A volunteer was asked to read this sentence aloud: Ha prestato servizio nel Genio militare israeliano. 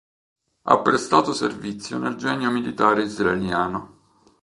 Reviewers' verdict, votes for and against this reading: accepted, 2, 0